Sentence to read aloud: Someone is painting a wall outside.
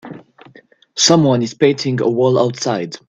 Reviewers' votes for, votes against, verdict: 2, 0, accepted